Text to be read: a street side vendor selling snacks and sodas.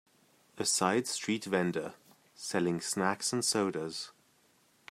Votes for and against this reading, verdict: 0, 2, rejected